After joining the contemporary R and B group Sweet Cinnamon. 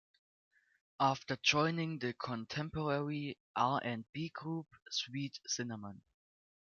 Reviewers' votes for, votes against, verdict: 0, 2, rejected